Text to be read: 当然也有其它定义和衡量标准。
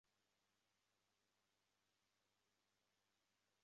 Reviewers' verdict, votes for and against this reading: rejected, 1, 2